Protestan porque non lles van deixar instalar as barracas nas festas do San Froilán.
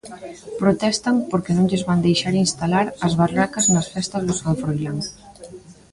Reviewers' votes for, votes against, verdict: 3, 0, accepted